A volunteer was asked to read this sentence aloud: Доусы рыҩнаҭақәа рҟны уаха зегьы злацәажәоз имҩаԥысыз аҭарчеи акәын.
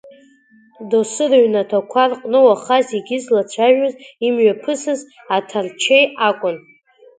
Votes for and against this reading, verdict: 2, 0, accepted